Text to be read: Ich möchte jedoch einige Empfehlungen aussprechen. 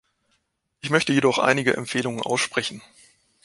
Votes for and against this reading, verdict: 2, 0, accepted